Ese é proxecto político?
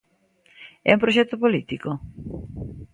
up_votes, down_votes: 0, 2